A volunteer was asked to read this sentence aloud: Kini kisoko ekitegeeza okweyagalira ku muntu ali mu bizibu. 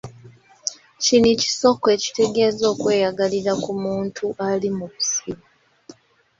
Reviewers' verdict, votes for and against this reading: rejected, 1, 2